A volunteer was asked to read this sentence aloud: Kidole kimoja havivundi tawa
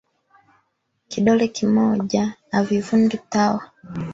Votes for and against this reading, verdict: 0, 2, rejected